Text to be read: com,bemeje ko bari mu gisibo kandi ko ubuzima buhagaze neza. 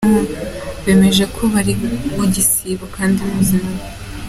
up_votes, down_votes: 0, 2